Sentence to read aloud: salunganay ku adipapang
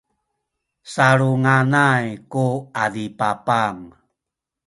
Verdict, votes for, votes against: rejected, 0, 2